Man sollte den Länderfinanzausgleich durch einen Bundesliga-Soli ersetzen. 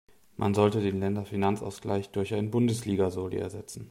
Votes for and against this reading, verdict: 1, 2, rejected